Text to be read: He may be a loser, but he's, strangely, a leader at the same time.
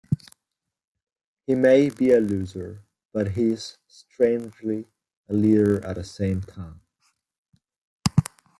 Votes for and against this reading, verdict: 2, 0, accepted